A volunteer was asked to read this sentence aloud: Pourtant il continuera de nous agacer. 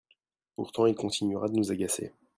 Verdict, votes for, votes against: accepted, 2, 0